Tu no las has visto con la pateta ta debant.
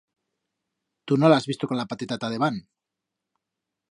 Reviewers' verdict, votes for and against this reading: rejected, 1, 2